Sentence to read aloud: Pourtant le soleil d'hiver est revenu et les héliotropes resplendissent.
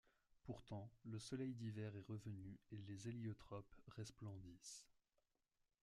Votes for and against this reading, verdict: 1, 2, rejected